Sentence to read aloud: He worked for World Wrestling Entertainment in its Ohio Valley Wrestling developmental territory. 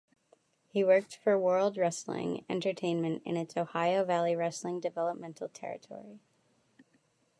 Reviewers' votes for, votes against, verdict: 2, 0, accepted